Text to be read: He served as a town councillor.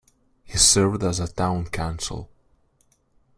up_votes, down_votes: 2, 1